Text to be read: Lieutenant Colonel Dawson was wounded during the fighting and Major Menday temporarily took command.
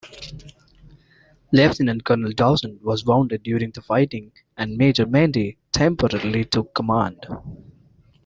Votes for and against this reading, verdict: 2, 1, accepted